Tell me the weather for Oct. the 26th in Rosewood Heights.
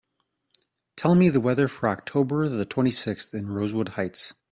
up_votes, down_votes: 0, 2